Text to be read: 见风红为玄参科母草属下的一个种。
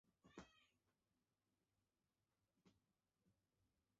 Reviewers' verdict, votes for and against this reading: rejected, 0, 4